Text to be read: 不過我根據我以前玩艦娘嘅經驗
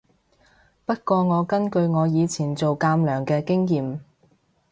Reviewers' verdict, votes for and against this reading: rejected, 0, 2